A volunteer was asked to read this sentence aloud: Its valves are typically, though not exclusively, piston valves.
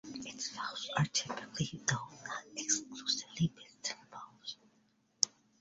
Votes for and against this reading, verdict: 0, 2, rejected